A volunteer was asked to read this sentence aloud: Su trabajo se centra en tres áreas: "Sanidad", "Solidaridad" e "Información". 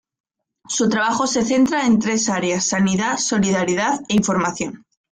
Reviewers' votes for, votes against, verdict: 2, 0, accepted